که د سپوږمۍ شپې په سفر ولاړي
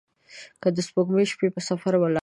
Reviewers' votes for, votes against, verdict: 2, 1, accepted